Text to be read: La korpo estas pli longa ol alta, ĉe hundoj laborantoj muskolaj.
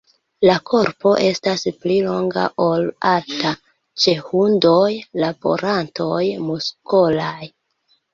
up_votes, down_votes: 2, 1